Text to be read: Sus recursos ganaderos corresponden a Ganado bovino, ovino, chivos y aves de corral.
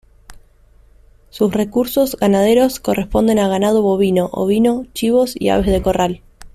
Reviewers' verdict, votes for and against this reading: accepted, 2, 0